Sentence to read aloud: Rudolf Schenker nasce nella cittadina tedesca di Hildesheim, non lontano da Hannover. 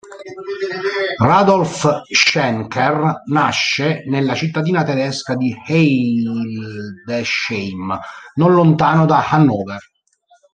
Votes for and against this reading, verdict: 0, 2, rejected